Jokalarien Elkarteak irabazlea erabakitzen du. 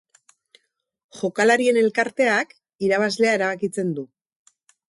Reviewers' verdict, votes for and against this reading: accepted, 4, 0